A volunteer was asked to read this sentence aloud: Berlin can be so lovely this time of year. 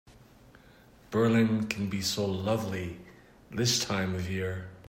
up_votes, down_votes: 2, 0